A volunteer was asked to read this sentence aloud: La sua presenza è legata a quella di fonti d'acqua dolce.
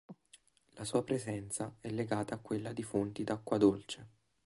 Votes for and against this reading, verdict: 2, 0, accepted